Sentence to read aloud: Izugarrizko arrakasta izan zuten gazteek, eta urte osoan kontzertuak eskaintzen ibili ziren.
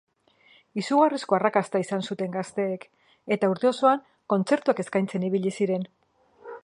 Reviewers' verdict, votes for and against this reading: accepted, 2, 1